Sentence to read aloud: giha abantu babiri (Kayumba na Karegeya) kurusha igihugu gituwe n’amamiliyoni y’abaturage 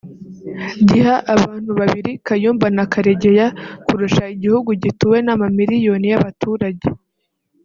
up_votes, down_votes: 2, 0